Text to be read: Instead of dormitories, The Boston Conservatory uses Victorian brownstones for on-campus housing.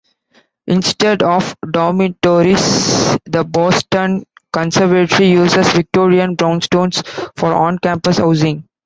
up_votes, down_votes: 2, 1